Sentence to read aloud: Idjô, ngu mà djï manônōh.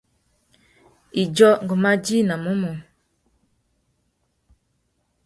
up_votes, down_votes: 1, 2